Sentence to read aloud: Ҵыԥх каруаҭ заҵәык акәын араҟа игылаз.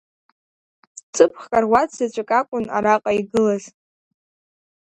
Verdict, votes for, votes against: accepted, 2, 1